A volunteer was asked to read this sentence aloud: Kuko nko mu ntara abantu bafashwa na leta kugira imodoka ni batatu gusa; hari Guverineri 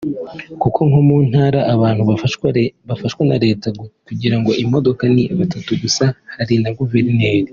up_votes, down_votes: 0, 2